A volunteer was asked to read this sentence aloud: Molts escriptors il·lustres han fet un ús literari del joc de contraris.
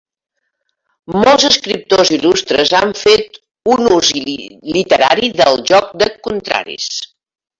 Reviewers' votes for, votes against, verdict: 3, 2, accepted